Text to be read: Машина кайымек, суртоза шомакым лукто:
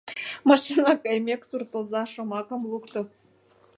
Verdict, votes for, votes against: rejected, 1, 2